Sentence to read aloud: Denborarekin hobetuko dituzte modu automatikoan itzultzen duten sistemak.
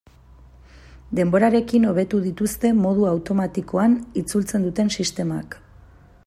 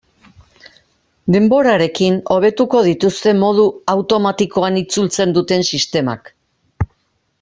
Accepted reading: second